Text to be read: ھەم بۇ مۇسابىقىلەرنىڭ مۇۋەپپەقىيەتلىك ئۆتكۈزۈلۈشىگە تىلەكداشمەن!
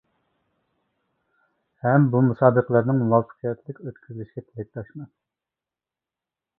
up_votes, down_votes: 0, 2